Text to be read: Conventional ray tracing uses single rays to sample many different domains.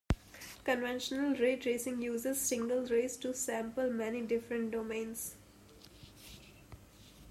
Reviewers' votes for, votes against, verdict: 0, 2, rejected